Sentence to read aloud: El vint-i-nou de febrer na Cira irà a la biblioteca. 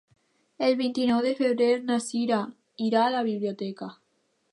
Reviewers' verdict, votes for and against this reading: accepted, 2, 0